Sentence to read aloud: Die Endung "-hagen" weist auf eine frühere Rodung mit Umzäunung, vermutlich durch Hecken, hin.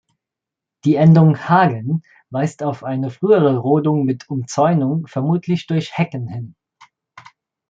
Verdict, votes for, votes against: accepted, 2, 0